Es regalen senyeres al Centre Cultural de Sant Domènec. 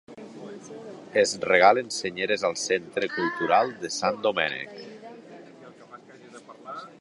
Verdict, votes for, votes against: accepted, 2, 0